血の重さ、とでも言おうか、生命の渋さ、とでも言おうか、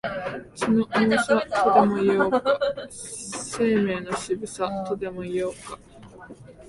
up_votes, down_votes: 1, 2